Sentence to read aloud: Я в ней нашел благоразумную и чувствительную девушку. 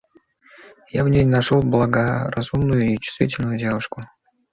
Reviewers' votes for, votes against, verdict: 2, 0, accepted